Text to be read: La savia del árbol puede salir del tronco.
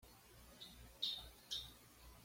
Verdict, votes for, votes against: rejected, 1, 2